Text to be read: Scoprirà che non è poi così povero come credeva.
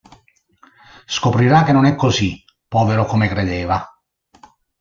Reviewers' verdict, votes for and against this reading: rejected, 0, 2